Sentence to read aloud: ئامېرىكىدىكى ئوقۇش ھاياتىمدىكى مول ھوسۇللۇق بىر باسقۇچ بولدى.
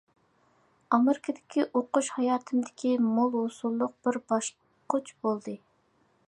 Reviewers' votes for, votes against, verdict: 2, 0, accepted